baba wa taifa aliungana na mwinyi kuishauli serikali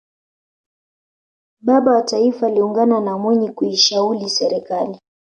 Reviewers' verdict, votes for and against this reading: accepted, 2, 0